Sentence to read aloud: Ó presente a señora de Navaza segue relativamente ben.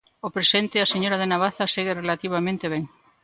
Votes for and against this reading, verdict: 2, 0, accepted